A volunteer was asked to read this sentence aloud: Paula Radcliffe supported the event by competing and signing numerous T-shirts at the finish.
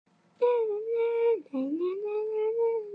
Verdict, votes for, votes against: rejected, 0, 2